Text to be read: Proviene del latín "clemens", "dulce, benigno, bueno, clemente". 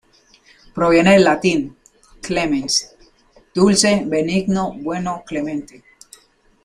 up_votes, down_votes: 2, 0